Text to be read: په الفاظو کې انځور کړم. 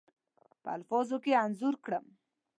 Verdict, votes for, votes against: accepted, 2, 0